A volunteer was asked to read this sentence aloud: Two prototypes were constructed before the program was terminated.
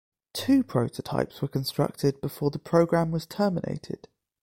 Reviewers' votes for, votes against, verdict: 2, 0, accepted